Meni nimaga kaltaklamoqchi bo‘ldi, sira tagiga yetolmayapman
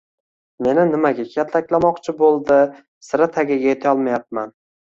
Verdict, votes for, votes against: accepted, 2, 0